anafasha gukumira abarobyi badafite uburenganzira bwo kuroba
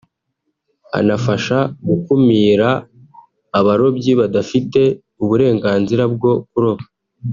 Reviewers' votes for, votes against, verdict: 3, 0, accepted